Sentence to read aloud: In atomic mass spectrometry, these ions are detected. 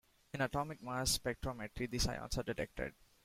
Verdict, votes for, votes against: accepted, 2, 0